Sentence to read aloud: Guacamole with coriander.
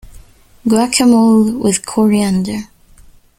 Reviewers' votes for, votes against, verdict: 1, 2, rejected